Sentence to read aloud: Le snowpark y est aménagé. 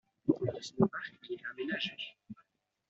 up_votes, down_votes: 1, 2